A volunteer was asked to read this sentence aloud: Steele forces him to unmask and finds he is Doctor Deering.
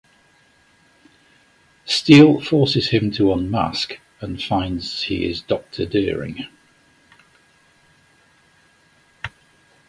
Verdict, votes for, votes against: accepted, 2, 1